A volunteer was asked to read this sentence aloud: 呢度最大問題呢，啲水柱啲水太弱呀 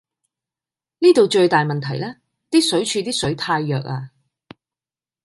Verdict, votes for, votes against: accepted, 2, 0